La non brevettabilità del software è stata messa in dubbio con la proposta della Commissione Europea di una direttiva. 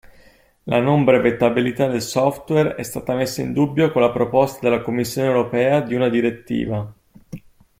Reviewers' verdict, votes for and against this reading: accepted, 2, 0